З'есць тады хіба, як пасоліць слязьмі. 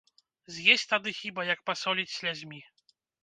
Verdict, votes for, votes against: accepted, 3, 0